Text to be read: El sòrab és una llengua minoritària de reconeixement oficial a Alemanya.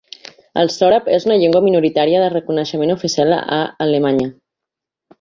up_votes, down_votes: 1, 2